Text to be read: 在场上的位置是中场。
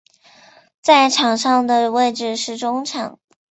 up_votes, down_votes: 2, 0